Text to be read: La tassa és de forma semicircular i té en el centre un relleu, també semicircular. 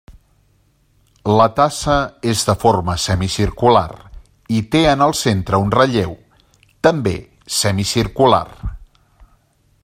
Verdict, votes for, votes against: accepted, 3, 0